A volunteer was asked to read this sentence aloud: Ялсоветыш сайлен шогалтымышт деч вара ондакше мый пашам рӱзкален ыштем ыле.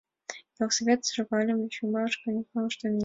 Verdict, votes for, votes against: rejected, 1, 2